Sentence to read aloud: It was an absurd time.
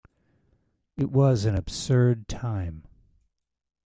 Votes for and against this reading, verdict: 2, 0, accepted